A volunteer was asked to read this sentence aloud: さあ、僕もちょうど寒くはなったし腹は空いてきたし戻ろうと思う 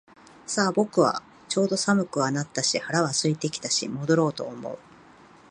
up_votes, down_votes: 1, 2